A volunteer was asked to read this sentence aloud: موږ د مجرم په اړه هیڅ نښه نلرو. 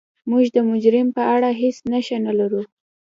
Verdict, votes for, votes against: accepted, 2, 0